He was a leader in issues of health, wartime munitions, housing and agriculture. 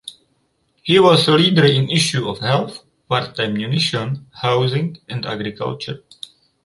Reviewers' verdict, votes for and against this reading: rejected, 0, 2